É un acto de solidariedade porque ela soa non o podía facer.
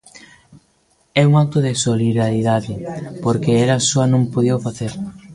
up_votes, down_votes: 0, 2